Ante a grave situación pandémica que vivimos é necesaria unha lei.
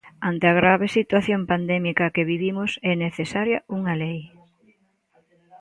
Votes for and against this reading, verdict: 2, 0, accepted